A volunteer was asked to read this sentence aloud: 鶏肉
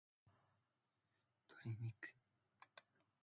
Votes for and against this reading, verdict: 2, 0, accepted